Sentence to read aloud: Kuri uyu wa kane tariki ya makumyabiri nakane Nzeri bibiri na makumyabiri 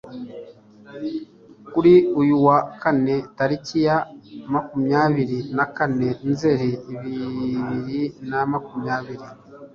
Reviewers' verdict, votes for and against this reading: rejected, 1, 2